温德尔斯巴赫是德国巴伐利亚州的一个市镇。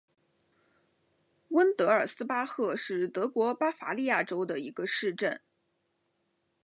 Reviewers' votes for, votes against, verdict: 2, 0, accepted